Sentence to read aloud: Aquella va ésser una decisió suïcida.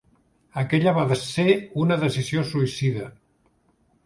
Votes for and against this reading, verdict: 0, 2, rejected